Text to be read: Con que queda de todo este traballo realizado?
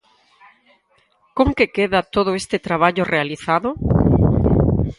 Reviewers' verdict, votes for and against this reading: rejected, 0, 4